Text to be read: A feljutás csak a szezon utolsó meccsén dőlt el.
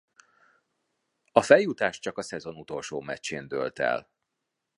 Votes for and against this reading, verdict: 2, 0, accepted